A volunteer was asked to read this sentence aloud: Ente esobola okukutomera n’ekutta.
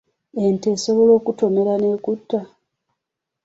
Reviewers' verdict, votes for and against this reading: rejected, 1, 2